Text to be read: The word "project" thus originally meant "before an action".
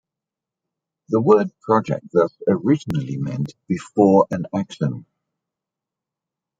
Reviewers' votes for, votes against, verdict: 2, 1, accepted